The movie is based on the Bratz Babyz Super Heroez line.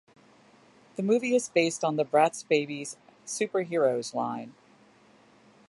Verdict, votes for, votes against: accepted, 2, 1